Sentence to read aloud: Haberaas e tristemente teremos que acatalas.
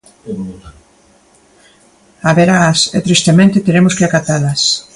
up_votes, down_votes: 2, 0